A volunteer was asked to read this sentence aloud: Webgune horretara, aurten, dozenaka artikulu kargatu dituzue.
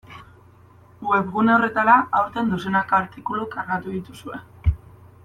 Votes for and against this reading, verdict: 2, 0, accepted